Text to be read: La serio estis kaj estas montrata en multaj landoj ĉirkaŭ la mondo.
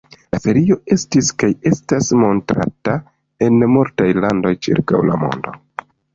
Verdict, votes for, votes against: rejected, 1, 2